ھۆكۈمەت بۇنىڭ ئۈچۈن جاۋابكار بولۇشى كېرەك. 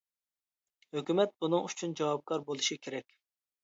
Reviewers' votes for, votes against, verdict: 2, 0, accepted